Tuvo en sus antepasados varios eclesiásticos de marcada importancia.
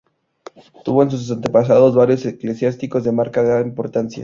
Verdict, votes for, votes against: rejected, 0, 2